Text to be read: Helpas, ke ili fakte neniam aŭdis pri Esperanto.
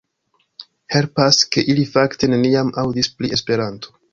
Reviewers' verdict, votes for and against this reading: accepted, 2, 0